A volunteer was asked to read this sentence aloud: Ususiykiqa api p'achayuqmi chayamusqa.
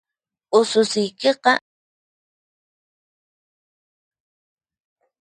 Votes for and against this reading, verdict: 2, 4, rejected